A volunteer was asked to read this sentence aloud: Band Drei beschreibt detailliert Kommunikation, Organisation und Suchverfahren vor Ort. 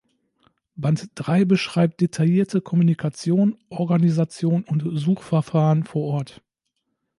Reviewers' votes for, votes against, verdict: 0, 2, rejected